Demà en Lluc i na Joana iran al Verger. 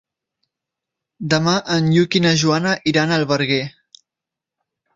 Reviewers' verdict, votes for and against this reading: rejected, 1, 2